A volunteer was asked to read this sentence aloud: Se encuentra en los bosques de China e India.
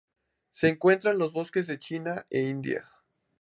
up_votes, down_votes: 4, 0